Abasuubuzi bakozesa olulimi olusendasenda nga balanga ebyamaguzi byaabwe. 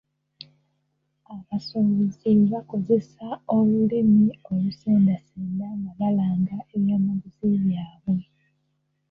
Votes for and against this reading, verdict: 1, 2, rejected